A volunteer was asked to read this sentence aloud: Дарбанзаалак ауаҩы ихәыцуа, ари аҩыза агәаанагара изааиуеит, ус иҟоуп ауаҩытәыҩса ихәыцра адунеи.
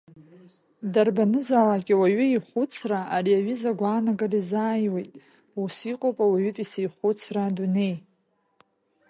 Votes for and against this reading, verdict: 1, 2, rejected